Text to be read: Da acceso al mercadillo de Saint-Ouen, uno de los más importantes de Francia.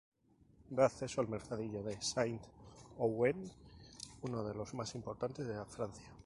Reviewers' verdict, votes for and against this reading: accepted, 2, 0